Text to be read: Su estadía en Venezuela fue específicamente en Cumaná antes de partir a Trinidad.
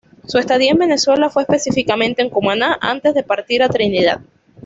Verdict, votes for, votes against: accepted, 2, 0